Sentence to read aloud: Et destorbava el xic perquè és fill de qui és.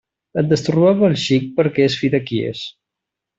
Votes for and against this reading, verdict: 2, 1, accepted